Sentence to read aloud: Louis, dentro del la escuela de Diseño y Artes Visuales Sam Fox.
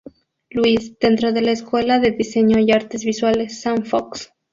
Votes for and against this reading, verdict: 0, 2, rejected